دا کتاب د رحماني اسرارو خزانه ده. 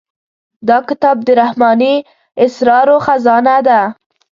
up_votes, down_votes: 2, 0